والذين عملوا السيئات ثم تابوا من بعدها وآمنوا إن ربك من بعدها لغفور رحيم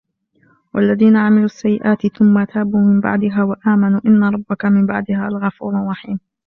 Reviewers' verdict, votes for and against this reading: rejected, 1, 2